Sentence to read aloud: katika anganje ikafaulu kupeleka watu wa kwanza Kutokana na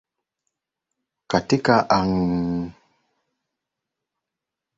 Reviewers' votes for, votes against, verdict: 2, 13, rejected